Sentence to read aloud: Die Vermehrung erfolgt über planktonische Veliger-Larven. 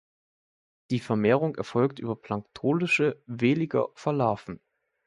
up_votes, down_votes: 1, 2